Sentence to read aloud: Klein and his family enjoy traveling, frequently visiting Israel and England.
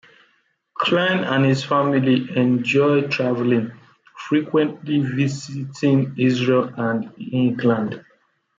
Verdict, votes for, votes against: rejected, 1, 2